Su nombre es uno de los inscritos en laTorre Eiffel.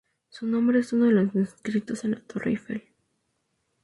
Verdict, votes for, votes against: rejected, 2, 2